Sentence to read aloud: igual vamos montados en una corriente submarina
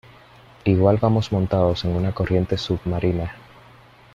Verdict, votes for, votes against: accepted, 2, 0